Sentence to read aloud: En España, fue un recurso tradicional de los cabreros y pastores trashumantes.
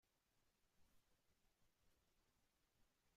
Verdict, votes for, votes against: rejected, 0, 2